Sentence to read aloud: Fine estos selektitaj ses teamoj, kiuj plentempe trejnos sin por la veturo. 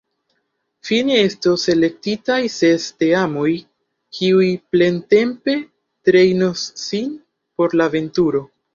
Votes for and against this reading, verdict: 0, 2, rejected